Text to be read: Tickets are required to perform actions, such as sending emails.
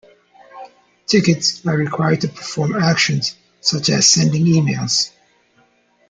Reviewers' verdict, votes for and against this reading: accepted, 2, 1